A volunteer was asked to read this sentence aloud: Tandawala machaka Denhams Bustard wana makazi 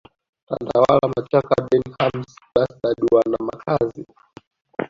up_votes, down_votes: 0, 2